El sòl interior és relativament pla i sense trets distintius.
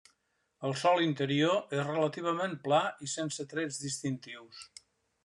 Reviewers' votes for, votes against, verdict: 3, 0, accepted